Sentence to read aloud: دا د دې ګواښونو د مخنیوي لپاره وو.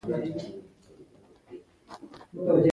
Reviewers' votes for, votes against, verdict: 0, 2, rejected